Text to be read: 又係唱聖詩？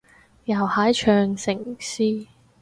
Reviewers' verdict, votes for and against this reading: rejected, 2, 2